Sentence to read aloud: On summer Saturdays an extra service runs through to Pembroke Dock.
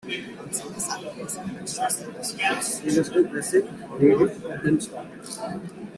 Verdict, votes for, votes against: rejected, 0, 2